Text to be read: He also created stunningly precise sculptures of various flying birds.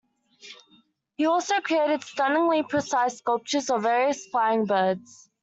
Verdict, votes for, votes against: accepted, 2, 0